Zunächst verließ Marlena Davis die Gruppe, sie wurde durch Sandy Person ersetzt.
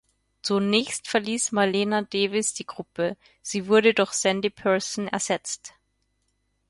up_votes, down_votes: 4, 0